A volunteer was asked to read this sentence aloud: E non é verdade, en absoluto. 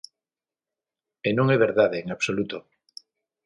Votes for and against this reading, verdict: 6, 0, accepted